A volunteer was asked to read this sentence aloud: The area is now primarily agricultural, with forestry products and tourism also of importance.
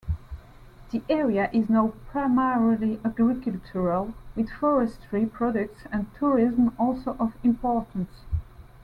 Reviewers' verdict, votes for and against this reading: rejected, 1, 2